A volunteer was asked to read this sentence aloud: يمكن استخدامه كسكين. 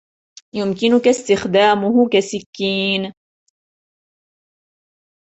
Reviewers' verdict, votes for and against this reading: rejected, 1, 2